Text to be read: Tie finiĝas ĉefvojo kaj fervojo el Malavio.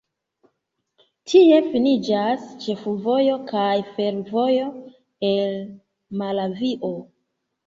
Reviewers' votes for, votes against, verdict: 0, 2, rejected